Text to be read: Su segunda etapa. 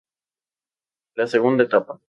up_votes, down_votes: 0, 2